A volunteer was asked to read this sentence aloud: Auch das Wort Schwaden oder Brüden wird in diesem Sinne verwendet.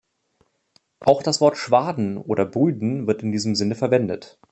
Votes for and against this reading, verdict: 2, 0, accepted